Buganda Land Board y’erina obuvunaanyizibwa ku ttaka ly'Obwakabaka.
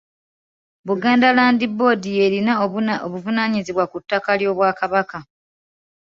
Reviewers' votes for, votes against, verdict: 2, 0, accepted